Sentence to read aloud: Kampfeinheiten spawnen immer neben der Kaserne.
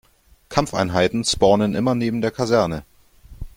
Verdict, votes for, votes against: accepted, 2, 0